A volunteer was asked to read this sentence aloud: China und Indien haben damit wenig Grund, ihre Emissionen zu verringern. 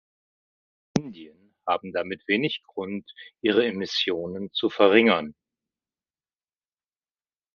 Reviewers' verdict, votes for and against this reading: rejected, 0, 2